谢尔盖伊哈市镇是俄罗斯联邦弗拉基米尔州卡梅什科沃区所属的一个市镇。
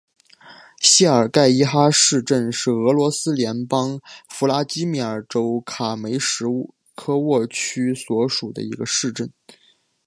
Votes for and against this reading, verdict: 2, 0, accepted